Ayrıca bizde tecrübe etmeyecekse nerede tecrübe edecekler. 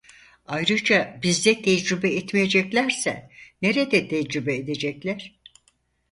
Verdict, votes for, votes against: rejected, 0, 4